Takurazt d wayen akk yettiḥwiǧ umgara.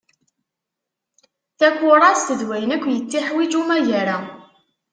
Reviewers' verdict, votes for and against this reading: rejected, 0, 2